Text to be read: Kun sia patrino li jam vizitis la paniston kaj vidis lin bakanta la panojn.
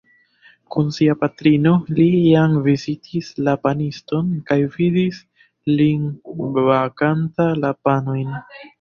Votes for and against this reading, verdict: 1, 2, rejected